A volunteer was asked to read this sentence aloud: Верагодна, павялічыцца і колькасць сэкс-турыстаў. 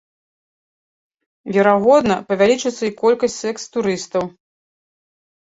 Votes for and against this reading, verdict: 2, 0, accepted